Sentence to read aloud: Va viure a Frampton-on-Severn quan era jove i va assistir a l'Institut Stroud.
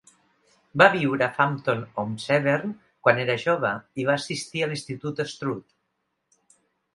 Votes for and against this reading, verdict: 2, 0, accepted